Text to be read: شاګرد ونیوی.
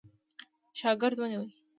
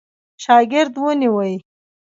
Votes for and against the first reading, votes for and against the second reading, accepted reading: 2, 0, 1, 2, first